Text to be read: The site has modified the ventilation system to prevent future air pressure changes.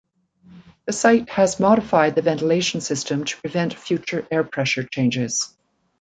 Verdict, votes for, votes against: accepted, 2, 0